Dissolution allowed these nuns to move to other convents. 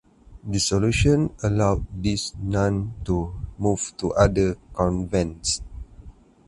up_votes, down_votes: 0, 4